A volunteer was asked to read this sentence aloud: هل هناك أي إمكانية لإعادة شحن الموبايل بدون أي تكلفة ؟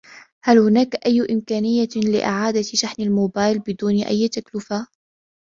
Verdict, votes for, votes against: accepted, 2, 0